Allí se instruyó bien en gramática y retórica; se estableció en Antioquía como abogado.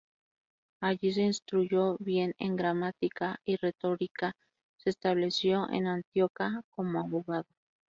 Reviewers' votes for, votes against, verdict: 0, 2, rejected